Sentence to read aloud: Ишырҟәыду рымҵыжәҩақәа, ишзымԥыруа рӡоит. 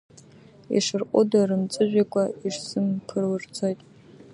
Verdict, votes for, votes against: rejected, 0, 2